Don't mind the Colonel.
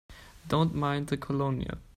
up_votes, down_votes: 1, 2